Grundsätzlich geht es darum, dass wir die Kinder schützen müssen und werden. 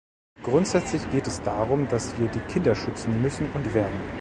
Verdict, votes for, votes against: accepted, 2, 0